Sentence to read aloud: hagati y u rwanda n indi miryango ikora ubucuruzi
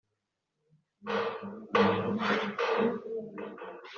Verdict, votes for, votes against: rejected, 1, 2